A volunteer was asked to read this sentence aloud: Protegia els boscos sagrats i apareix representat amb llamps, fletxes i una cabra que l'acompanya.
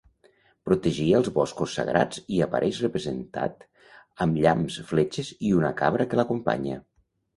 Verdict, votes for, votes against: accepted, 2, 0